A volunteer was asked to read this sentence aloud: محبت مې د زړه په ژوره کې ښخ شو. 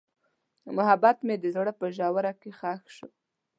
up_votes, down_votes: 2, 0